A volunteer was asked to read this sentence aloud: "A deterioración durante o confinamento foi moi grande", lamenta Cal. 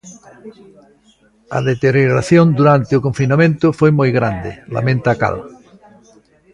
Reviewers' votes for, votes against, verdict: 1, 2, rejected